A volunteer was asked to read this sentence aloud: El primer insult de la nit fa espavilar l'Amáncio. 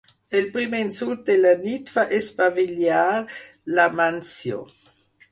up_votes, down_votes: 4, 0